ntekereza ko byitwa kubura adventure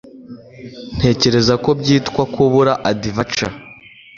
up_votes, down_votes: 2, 0